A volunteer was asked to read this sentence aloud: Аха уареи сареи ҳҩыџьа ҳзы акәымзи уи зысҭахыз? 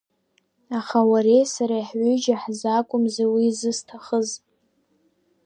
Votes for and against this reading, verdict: 2, 0, accepted